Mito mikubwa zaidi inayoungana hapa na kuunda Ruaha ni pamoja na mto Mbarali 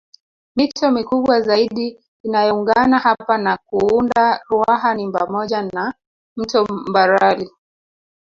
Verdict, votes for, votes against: rejected, 0, 2